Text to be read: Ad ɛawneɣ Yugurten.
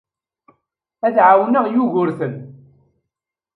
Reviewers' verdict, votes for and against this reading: accepted, 2, 0